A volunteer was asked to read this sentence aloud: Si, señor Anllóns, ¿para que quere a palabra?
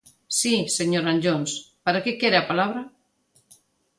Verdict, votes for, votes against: accepted, 2, 0